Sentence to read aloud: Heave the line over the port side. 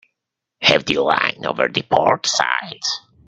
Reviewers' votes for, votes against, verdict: 0, 2, rejected